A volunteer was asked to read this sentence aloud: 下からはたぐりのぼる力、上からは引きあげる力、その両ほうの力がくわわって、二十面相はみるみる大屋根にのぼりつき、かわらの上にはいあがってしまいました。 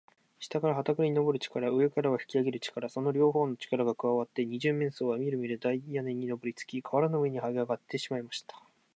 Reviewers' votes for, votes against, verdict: 0, 2, rejected